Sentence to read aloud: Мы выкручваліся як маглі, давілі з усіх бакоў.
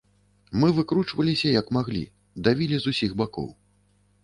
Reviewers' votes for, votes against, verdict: 2, 0, accepted